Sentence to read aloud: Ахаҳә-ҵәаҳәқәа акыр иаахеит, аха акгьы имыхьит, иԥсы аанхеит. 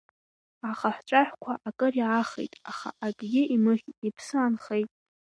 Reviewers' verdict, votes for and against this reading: accepted, 2, 1